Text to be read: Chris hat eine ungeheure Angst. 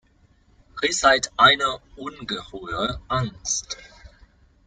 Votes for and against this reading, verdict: 1, 2, rejected